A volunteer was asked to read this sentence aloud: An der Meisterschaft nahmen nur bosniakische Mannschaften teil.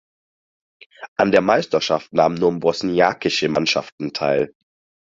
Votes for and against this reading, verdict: 4, 0, accepted